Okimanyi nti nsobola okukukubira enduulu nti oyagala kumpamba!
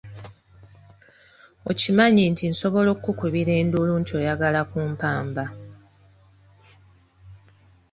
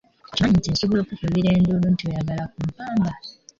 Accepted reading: first